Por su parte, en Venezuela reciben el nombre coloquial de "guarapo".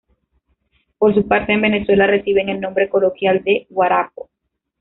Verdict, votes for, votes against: rejected, 1, 2